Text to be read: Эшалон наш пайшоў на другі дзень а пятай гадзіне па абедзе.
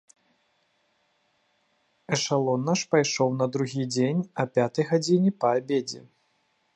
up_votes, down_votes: 2, 0